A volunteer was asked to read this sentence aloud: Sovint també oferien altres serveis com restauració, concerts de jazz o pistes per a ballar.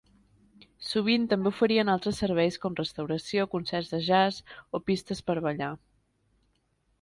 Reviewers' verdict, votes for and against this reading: accepted, 2, 0